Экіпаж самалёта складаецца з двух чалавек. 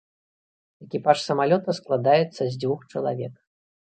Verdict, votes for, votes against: rejected, 1, 2